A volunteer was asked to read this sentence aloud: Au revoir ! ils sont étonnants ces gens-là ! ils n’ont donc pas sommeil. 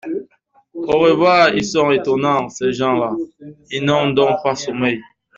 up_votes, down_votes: 2, 0